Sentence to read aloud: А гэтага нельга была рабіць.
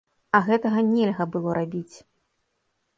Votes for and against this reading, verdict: 1, 2, rejected